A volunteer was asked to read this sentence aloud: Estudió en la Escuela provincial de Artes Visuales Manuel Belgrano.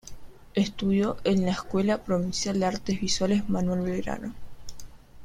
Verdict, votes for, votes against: rejected, 1, 2